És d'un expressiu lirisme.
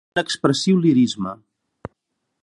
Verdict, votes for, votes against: rejected, 1, 2